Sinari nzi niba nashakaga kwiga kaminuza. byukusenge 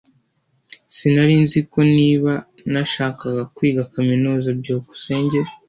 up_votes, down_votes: 0, 2